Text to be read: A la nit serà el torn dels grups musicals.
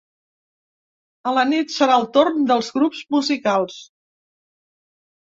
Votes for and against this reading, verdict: 2, 0, accepted